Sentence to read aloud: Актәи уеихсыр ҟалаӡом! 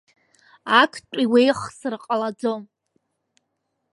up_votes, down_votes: 2, 0